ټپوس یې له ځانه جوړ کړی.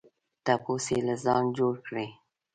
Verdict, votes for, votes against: rejected, 0, 2